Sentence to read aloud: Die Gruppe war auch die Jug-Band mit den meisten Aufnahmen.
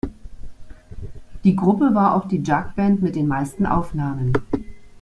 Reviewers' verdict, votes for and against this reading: accepted, 2, 0